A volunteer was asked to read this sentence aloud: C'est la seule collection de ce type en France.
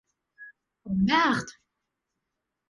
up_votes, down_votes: 0, 2